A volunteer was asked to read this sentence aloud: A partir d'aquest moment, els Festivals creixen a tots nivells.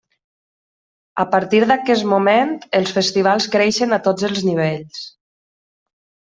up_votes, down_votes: 0, 2